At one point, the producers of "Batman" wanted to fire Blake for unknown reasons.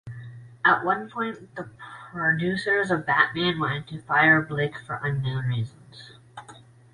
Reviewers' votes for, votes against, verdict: 2, 0, accepted